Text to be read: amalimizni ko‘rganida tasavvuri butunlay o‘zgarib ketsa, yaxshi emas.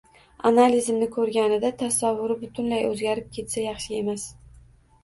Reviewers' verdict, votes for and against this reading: rejected, 0, 2